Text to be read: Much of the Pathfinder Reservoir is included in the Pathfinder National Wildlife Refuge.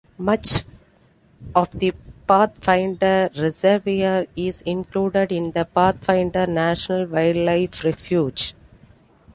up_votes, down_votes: 2, 1